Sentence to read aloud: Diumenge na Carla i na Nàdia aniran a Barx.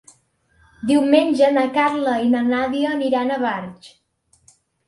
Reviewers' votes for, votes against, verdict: 2, 0, accepted